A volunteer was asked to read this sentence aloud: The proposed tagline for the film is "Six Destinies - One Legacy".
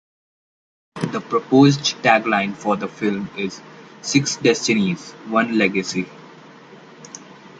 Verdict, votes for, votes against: accepted, 2, 0